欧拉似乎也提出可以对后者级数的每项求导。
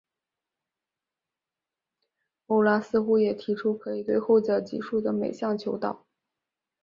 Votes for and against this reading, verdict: 5, 1, accepted